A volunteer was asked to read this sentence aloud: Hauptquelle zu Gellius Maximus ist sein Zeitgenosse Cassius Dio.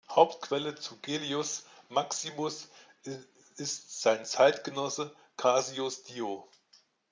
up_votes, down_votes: 1, 2